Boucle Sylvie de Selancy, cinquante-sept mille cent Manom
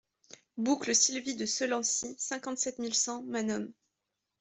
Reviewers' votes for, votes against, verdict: 2, 0, accepted